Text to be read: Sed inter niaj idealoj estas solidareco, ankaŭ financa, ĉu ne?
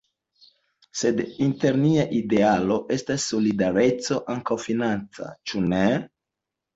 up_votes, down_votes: 2, 0